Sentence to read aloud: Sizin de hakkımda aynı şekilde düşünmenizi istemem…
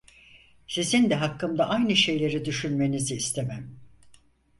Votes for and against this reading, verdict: 2, 4, rejected